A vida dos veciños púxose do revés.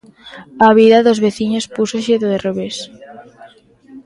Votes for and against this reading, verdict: 1, 2, rejected